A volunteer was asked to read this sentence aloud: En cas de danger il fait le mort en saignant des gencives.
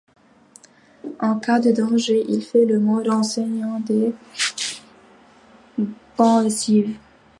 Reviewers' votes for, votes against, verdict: 2, 0, accepted